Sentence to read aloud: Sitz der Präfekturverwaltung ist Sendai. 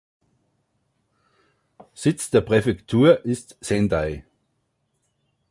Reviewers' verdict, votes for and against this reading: rejected, 0, 2